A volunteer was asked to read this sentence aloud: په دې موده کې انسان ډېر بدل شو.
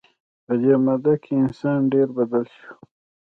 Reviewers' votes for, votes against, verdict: 2, 0, accepted